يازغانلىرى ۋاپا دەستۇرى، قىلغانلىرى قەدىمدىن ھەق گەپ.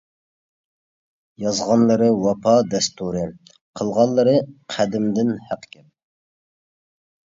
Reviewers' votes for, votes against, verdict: 2, 0, accepted